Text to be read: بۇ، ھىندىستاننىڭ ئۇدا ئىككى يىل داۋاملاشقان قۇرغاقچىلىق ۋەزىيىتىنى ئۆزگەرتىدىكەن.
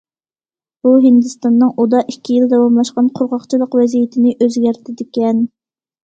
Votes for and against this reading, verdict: 2, 0, accepted